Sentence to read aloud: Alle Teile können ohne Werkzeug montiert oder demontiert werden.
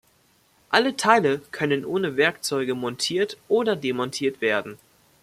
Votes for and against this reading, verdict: 1, 2, rejected